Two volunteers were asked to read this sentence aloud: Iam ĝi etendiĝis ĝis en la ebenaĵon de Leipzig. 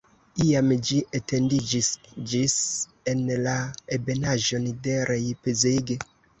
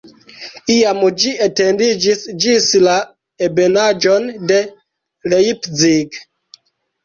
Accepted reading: first